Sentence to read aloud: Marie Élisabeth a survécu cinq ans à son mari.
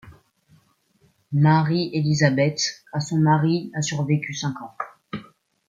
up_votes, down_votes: 0, 2